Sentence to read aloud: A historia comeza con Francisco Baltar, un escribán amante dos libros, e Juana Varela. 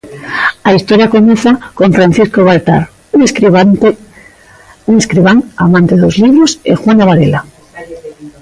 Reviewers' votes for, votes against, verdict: 0, 2, rejected